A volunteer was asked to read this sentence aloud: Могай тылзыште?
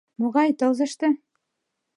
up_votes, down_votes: 2, 0